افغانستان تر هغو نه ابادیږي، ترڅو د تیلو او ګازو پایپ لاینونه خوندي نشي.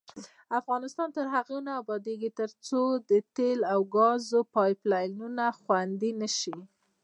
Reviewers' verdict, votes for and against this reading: rejected, 1, 2